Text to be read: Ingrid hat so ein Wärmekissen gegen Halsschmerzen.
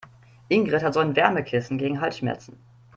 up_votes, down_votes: 2, 0